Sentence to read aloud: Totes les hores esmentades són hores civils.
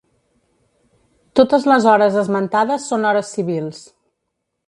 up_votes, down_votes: 2, 0